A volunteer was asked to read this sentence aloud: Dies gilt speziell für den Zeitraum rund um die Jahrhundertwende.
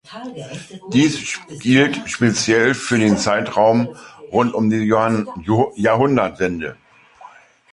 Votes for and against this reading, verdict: 0, 2, rejected